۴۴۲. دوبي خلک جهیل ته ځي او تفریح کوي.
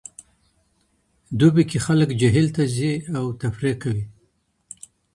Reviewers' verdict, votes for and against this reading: rejected, 0, 2